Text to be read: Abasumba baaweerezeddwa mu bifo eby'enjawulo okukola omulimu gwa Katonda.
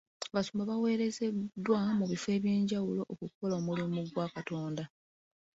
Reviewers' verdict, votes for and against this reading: rejected, 2, 3